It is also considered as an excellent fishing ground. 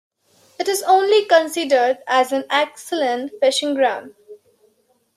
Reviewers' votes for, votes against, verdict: 1, 2, rejected